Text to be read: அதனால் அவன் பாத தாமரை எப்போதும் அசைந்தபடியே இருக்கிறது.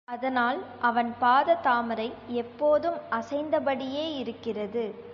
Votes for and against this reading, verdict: 0, 2, rejected